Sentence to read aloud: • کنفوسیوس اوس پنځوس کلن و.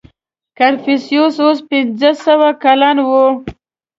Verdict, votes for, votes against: rejected, 0, 2